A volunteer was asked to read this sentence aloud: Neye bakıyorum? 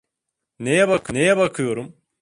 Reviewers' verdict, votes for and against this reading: rejected, 0, 2